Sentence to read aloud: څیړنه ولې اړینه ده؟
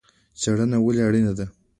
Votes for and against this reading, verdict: 2, 0, accepted